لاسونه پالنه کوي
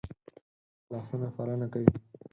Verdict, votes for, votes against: accepted, 6, 4